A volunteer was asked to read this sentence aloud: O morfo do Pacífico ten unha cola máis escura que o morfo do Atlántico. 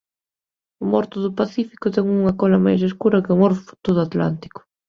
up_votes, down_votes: 0, 2